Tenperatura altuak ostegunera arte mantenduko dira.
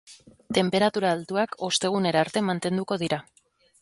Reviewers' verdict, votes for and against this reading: accepted, 3, 0